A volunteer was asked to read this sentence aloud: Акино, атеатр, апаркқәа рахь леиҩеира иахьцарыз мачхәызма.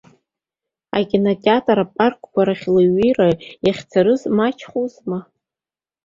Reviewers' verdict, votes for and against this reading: accepted, 2, 1